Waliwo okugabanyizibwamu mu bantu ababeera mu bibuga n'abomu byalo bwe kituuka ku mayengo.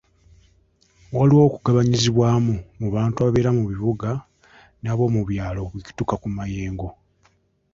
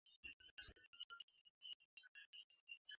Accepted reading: first